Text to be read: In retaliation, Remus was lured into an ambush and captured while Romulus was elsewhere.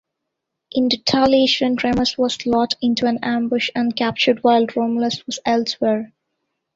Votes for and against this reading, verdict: 1, 2, rejected